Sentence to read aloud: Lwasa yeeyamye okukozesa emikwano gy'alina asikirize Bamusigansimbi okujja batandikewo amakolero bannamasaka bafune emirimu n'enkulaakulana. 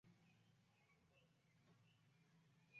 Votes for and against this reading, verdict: 1, 2, rejected